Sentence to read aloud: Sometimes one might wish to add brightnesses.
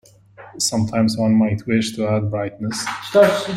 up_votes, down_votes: 0, 2